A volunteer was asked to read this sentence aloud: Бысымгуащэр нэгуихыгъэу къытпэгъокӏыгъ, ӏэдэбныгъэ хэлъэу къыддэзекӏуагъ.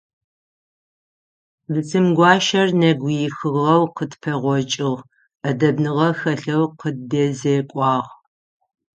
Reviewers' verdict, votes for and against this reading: rejected, 3, 6